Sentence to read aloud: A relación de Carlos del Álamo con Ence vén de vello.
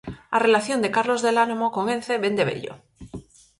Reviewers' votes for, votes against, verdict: 4, 0, accepted